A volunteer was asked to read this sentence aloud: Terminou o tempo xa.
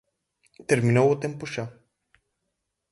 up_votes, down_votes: 4, 0